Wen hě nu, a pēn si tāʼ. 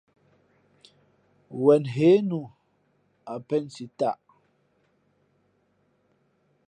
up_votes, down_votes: 2, 0